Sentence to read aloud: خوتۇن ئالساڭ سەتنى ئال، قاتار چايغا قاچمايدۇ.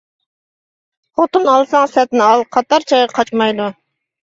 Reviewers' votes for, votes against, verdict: 2, 1, accepted